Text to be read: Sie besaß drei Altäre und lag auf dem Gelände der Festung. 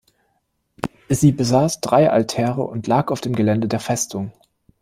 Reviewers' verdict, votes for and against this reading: accepted, 2, 0